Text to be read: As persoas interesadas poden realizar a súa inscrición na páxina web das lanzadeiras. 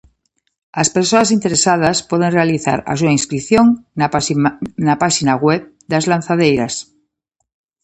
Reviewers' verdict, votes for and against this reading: rejected, 0, 2